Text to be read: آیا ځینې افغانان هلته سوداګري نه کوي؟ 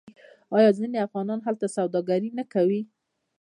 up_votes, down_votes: 2, 0